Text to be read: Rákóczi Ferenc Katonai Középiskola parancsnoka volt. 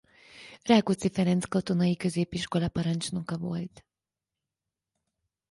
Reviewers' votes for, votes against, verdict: 2, 0, accepted